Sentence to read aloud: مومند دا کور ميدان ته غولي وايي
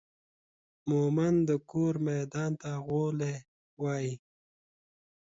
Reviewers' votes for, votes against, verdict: 2, 1, accepted